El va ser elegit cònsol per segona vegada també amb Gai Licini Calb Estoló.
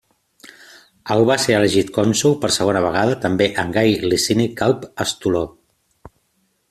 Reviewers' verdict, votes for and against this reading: accepted, 2, 0